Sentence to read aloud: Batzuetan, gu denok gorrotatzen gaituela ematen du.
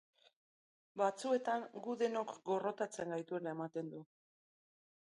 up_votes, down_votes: 2, 0